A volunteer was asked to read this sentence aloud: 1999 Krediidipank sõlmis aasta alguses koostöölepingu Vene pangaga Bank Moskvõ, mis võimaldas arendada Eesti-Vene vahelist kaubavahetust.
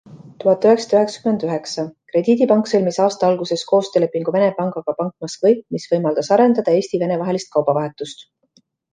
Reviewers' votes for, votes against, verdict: 0, 2, rejected